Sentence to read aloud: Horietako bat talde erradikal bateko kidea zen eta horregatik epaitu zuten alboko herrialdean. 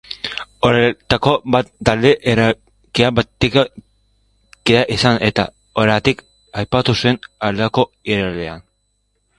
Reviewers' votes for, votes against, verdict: 0, 3, rejected